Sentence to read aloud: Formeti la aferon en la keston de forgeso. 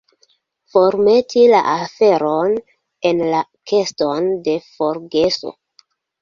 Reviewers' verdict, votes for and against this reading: accepted, 2, 1